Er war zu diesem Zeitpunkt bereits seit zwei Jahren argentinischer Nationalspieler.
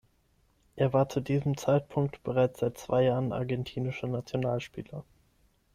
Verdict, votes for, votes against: accepted, 6, 0